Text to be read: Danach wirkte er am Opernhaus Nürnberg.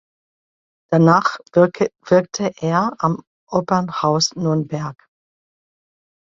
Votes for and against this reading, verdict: 0, 2, rejected